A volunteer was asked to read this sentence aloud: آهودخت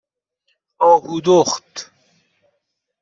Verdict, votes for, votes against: accepted, 2, 0